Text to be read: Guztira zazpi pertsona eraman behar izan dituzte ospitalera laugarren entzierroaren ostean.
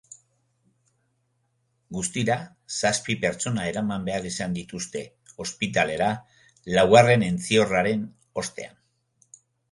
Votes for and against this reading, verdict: 2, 0, accepted